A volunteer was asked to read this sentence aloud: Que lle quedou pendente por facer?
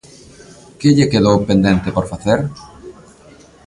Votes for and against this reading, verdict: 2, 0, accepted